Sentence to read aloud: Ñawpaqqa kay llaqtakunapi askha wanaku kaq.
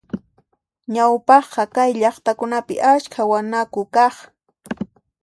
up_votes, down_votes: 2, 0